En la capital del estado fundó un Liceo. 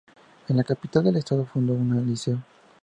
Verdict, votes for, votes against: rejected, 0, 2